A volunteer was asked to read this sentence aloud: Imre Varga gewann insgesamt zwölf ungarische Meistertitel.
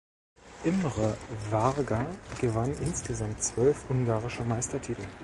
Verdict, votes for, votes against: rejected, 1, 2